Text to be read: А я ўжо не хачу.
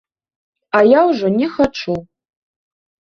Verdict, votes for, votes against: accepted, 2, 0